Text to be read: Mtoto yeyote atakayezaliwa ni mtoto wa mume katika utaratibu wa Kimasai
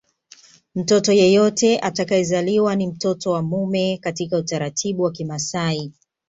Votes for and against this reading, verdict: 2, 0, accepted